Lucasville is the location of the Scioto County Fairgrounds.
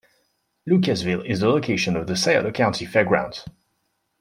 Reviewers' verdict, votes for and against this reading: accepted, 2, 0